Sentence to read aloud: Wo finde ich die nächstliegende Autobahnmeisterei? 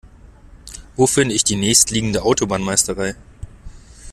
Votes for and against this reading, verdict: 2, 0, accepted